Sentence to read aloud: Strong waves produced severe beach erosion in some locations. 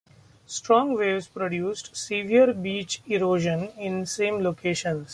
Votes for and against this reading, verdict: 0, 2, rejected